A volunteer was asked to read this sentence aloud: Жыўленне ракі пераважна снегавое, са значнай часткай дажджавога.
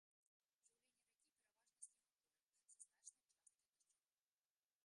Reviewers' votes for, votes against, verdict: 0, 2, rejected